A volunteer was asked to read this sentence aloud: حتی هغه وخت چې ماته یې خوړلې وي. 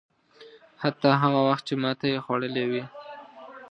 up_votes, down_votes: 2, 0